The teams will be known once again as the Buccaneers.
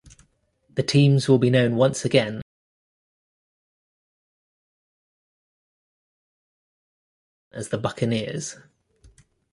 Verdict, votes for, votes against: rejected, 1, 2